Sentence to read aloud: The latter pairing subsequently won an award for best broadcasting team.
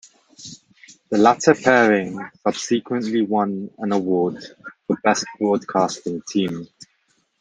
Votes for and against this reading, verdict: 2, 0, accepted